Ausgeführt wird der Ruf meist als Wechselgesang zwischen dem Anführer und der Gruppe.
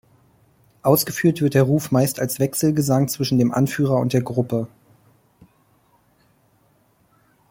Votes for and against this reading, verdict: 2, 0, accepted